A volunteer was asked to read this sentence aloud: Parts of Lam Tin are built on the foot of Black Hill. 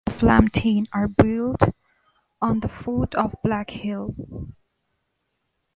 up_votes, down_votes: 0, 2